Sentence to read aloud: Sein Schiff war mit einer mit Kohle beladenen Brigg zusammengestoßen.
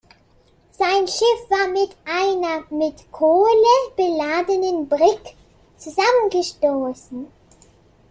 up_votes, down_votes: 2, 0